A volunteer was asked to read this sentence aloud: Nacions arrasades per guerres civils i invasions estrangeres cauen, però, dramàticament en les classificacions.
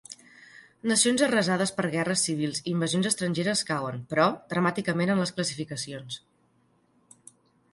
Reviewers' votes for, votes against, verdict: 2, 0, accepted